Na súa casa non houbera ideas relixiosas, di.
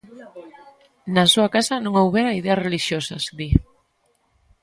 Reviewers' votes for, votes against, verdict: 2, 0, accepted